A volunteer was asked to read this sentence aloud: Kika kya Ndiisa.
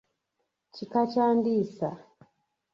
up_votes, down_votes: 2, 0